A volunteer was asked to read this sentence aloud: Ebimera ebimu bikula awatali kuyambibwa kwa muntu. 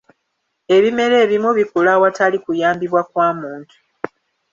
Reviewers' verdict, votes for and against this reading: accepted, 2, 0